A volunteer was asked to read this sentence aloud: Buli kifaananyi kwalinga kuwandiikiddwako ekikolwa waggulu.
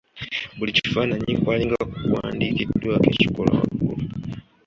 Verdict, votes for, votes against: accepted, 2, 0